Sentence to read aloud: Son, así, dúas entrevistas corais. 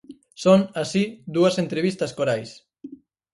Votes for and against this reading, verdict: 4, 2, accepted